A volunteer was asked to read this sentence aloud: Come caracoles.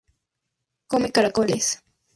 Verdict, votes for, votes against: accepted, 4, 0